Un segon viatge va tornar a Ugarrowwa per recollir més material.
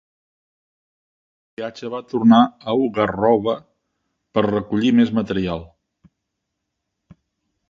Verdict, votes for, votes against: rejected, 0, 2